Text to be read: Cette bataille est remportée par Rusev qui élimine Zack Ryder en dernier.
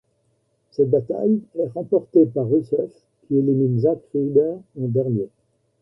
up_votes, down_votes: 2, 0